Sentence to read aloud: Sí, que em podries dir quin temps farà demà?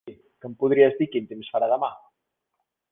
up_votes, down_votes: 0, 2